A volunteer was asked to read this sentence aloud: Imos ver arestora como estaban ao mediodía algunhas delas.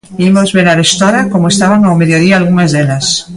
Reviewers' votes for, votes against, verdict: 2, 0, accepted